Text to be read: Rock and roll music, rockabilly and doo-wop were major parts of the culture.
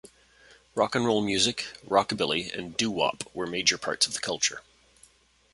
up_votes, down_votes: 1, 2